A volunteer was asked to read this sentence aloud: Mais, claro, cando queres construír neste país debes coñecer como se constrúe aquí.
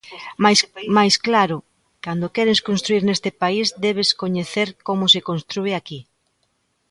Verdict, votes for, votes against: rejected, 0, 2